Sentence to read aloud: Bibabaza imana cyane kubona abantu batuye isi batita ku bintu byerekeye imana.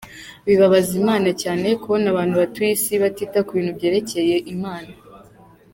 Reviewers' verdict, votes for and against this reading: accepted, 2, 0